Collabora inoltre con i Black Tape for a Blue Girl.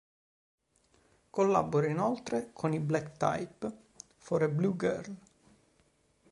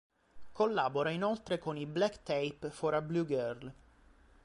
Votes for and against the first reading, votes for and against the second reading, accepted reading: 1, 2, 2, 0, second